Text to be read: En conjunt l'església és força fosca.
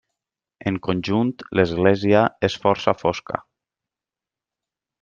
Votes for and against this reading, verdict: 3, 0, accepted